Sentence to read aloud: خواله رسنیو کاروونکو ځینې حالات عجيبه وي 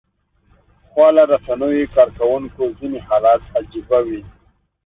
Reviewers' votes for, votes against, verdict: 2, 0, accepted